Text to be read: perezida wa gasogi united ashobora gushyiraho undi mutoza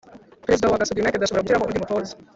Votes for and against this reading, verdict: 0, 2, rejected